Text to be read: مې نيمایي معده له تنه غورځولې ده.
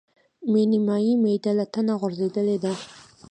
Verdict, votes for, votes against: accepted, 2, 1